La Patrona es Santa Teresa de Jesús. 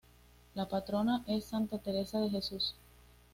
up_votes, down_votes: 2, 0